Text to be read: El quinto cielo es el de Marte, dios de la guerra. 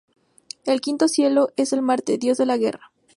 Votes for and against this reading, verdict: 0, 2, rejected